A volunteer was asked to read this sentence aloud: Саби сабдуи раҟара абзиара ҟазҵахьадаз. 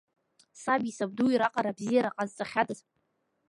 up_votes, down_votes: 2, 0